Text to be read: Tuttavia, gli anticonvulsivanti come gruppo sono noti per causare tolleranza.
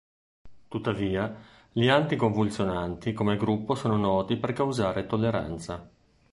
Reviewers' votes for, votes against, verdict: 0, 2, rejected